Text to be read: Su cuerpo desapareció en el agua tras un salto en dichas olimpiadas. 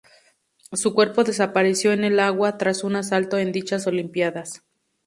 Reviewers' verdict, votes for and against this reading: rejected, 0, 2